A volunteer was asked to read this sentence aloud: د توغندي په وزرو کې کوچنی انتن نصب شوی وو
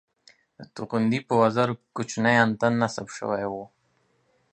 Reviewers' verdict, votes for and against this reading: accepted, 2, 0